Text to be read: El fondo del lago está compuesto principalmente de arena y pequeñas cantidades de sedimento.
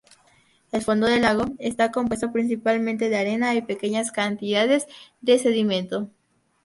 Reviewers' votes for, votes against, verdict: 2, 0, accepted